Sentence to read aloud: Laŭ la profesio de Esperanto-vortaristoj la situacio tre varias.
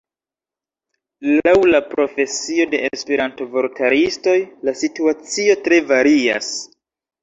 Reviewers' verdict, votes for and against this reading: rejected, 1, 2